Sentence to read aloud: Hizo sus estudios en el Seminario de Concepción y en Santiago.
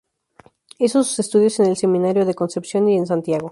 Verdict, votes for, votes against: accepted, 4, 0